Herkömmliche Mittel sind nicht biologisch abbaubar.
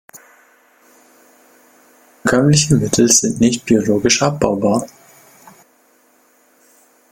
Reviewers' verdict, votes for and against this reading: rejected, 0, 2